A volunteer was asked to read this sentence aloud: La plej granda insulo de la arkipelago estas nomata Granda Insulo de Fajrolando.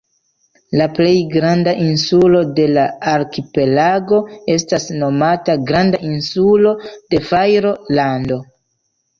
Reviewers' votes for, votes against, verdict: 2, 1, accepted